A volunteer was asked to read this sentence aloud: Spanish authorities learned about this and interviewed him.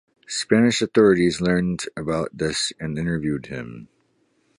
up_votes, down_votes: 2, 1